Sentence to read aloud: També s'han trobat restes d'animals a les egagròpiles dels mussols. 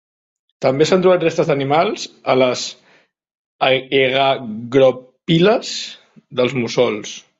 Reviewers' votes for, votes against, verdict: 0, 2, rejected